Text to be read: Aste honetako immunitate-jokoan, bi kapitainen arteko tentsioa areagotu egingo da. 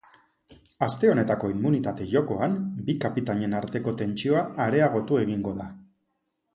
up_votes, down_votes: 2, 0